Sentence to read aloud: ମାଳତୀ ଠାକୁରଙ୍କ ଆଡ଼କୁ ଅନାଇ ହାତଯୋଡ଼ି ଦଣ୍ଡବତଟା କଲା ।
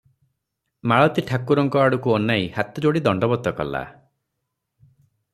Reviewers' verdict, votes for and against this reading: rejected, 0, 3